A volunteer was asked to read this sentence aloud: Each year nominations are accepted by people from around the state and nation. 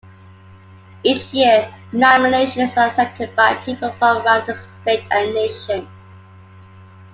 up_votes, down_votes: 2, 0